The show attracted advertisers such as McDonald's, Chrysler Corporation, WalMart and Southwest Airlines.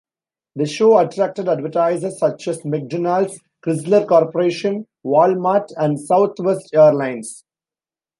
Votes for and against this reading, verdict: 2, 0, accepted